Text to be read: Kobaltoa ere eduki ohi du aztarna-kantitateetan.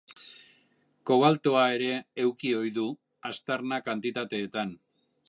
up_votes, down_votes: 1, 3